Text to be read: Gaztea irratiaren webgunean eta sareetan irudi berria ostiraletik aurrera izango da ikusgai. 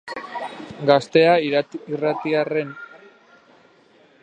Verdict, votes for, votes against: rejected, 0, 2